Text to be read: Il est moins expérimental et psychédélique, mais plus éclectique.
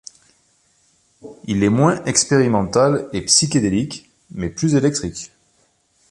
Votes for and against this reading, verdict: 2, 0, accepted